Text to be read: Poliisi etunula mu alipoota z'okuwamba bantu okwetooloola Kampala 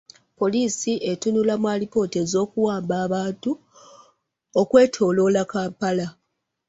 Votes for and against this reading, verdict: 1, 2, rejected